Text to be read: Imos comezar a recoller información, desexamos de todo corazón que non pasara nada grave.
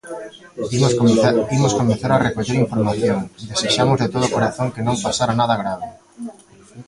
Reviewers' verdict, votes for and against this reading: rejected, 0, 2